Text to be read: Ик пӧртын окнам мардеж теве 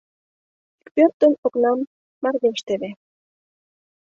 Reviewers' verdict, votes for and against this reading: rejected, 1, 2